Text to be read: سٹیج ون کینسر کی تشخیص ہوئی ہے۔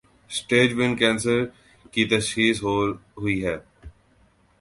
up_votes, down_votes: 2, 2